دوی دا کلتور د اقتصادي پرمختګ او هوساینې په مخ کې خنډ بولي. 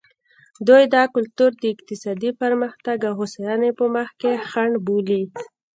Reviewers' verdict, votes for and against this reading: accepted, 2, 1